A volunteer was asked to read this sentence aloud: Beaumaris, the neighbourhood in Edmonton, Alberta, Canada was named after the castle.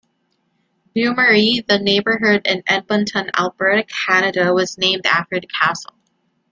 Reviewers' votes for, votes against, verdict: 0, 2, rejected